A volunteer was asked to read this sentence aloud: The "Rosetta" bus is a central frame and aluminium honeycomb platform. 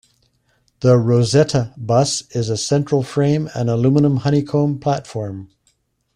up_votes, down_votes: 2, 1